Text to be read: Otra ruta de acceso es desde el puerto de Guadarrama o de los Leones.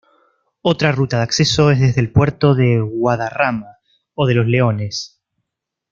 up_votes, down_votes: 1, 2